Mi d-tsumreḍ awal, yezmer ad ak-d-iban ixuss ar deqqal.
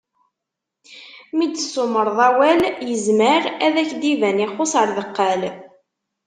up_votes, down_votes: 2, 0